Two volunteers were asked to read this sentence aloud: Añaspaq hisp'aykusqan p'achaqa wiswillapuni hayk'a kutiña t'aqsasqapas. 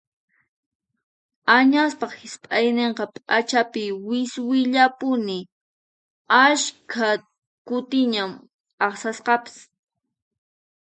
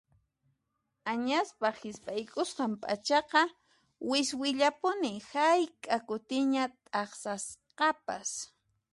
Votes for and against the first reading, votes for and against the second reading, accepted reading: 0, 4, 2, 0, second